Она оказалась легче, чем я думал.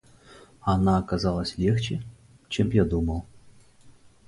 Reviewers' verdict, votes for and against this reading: accepted, 2, 0